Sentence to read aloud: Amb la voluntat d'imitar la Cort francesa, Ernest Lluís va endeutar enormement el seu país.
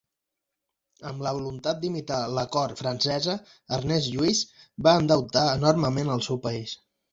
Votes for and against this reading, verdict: 2, 0, accepted